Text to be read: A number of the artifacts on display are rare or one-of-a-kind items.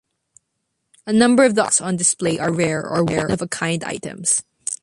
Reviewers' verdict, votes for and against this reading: rejected, 0, 2